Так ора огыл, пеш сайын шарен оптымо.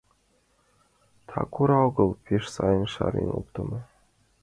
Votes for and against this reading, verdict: 2, 1, accepted